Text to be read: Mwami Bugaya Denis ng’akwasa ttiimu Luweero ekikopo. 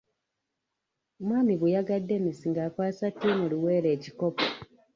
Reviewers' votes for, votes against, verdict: 1, 2, rejected